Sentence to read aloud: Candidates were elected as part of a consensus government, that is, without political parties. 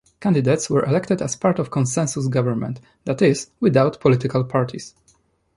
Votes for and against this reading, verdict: 1, 2, rejected